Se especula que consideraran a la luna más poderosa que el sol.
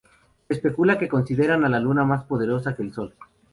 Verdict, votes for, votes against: rejected, 0, 2